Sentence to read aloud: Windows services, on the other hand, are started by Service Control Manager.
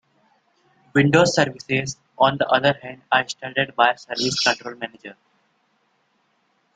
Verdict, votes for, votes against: accepted, 2, 0